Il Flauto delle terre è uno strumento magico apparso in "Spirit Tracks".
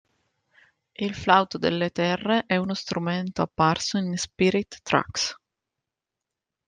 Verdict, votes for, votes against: rejected, 0, 2